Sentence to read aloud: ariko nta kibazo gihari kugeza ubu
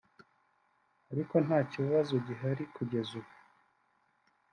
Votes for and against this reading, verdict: 2, 0, accepted